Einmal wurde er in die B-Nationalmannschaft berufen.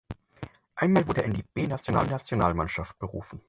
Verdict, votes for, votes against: rejected, 0, 4